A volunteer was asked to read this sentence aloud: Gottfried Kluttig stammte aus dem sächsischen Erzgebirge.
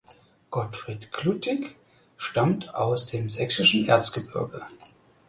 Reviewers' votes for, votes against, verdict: 2, 4, rejected